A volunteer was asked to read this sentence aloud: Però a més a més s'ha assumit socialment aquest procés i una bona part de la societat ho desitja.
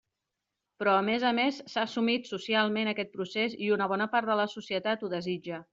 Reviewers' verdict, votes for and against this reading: accepted, 3, 0